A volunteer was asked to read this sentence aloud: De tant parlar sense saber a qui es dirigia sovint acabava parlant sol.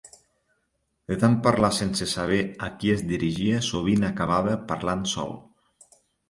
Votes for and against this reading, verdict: 2, 0, accepted